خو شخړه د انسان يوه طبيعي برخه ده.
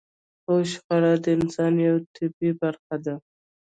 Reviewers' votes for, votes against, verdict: 2, 1, accepted